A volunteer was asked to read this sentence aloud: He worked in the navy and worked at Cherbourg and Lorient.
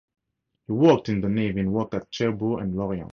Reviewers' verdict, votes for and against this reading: rejected, 2, 2